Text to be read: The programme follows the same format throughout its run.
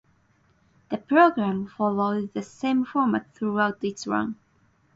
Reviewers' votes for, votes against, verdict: 4, 0, accepted